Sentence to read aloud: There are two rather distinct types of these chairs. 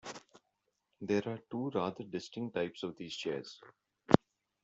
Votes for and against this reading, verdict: 1, 2, rejected